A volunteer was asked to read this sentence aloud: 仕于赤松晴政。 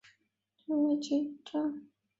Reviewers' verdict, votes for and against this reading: rejected, 1, 5